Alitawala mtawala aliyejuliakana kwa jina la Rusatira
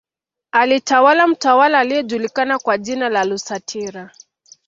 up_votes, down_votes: 2, 1